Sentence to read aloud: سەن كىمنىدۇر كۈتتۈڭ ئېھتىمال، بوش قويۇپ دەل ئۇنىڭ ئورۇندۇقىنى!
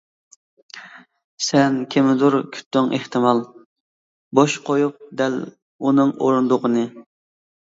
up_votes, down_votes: 2, 0